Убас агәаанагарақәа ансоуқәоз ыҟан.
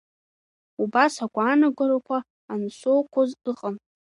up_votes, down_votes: 3, 1